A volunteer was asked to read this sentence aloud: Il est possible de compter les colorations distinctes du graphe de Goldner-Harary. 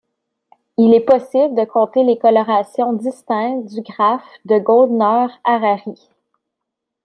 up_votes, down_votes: 2, 0